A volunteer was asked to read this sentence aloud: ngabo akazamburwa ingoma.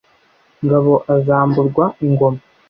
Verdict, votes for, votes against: rejected, 0, 2